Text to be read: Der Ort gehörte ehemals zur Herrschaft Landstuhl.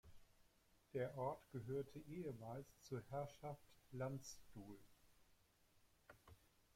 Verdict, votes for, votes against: accepted, 2, 0